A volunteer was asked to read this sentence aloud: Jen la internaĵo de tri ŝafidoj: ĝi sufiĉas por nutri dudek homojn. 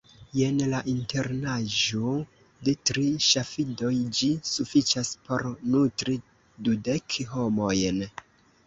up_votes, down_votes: 0, 2